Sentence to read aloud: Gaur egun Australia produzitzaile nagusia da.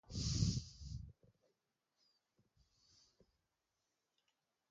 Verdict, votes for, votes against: rejected, 0, 2